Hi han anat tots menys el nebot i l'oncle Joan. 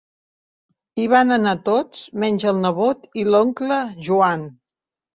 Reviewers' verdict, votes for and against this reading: rejected, 0, 3